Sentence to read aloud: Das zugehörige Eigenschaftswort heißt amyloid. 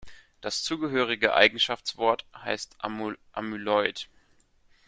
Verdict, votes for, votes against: rejected, 0, 2